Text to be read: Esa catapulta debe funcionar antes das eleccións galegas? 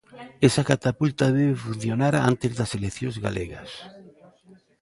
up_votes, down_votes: 0, 2